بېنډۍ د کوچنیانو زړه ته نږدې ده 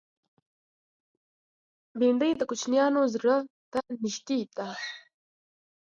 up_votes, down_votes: 2, 1